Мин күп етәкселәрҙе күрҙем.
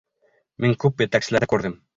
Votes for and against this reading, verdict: 1, 3, rejected